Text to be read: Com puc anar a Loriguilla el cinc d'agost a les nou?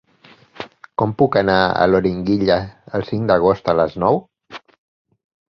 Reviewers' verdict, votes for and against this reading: rejected, 2, 4